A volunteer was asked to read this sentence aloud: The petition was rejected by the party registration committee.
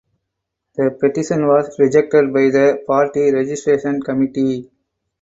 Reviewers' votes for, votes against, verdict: 4, 0, accepted